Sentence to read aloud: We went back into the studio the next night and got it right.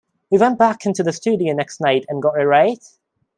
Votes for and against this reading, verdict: 0, 2, rejected